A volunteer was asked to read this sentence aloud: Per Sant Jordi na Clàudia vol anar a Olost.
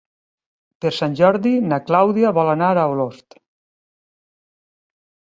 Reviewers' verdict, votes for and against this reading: accepted, 3, 0